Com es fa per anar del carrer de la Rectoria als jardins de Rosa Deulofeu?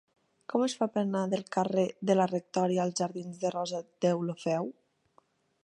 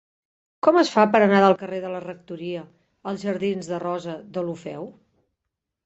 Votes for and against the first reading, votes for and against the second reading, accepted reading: 1, 2, 3, 0, second